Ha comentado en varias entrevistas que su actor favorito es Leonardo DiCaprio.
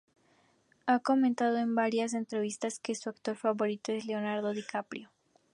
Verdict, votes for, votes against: accepted, 2, 0